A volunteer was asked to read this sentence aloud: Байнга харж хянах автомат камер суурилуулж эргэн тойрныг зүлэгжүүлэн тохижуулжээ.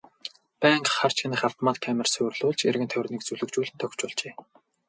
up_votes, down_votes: 0, 2